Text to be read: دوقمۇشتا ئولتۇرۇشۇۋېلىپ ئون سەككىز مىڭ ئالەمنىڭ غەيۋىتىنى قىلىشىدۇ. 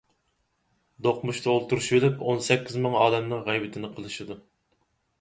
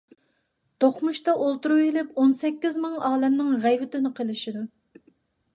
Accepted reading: first